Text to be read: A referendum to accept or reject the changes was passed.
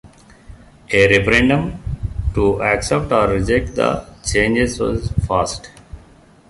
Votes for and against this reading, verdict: 0, 2, rejected